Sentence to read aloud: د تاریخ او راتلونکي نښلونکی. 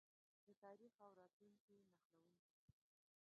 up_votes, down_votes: 0, 2